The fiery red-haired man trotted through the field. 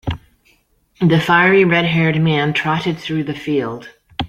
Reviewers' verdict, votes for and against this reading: accepted, 2, 0